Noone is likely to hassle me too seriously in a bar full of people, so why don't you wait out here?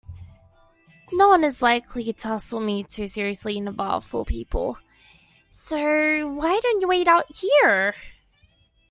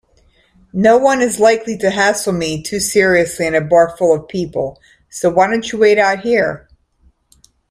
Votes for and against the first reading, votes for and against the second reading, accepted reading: 1, 2, 2, 1, second